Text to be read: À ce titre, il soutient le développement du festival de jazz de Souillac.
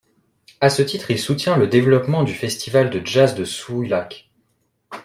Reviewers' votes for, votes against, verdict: 2, 1, accepted